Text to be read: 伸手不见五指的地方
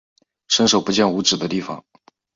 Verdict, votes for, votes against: accepted, 6, 0